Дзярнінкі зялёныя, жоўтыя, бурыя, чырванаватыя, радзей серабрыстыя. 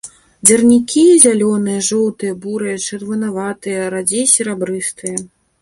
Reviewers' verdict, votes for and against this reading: rejected, 0, 2